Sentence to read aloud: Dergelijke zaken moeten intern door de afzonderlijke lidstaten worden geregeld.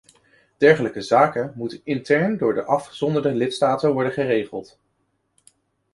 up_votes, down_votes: 1, 2